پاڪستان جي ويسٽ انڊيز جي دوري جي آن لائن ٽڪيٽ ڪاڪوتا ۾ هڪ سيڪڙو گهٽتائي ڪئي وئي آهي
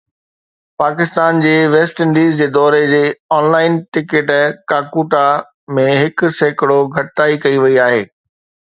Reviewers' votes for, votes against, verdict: 2, 0, accepted